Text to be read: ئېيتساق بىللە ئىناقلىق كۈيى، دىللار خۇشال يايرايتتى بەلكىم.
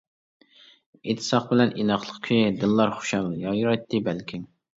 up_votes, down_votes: 1, 2